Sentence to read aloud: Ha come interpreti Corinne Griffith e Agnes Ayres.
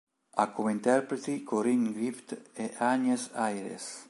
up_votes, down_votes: 1, 2